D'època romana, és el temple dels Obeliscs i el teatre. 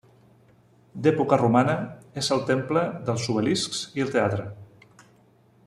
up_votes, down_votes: 0, 2